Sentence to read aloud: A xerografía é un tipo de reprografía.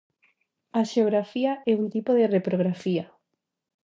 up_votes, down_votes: 0, 2